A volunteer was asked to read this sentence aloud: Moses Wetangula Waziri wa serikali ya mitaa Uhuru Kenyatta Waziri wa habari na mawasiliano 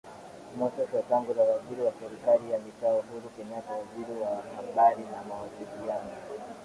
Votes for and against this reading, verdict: 0, 2, rejected